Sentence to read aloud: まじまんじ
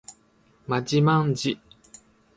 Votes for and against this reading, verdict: 0, 2, rejected